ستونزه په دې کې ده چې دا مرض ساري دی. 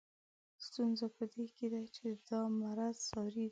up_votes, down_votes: 6, 2